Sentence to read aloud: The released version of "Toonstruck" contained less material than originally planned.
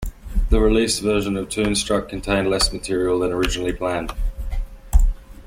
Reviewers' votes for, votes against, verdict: 2, 1, accepted